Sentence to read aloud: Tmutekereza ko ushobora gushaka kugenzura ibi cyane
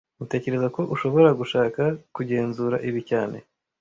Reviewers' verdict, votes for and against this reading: rejected, 1, 2